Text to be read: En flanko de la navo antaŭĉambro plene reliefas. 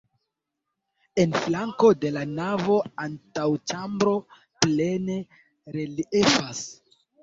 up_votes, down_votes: 0, 2